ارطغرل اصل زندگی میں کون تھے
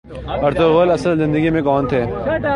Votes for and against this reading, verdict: 3, 0, accepted